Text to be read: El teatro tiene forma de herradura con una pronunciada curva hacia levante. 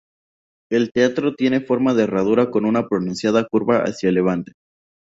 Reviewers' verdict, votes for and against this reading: accepted, 4, 0